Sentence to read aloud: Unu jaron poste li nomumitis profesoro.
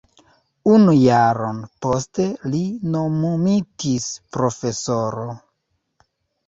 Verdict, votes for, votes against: rejected, 1, 2